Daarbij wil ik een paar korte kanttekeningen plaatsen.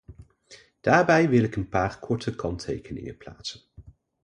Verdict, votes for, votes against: accepted, 2, 0